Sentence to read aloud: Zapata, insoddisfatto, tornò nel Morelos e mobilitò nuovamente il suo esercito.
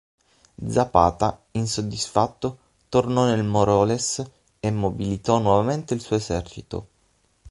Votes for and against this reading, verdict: 6, 12, rejected